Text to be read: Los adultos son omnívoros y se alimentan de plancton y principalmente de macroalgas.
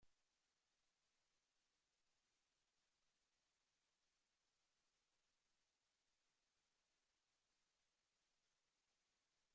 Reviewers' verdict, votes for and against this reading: rejected, 0, 2